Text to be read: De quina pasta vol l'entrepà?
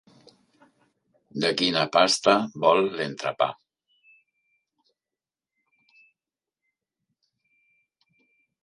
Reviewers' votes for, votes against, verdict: 1, 2, rejected